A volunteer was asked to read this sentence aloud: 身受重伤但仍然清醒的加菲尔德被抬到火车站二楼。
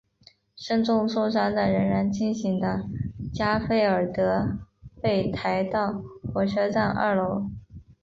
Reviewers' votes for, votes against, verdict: 3, 0, accepted